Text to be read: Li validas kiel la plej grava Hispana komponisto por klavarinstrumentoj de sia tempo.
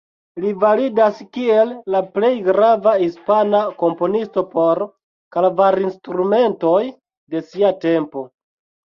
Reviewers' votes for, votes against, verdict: 0, 2, rejected